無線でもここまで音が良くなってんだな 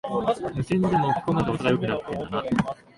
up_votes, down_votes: 1, 3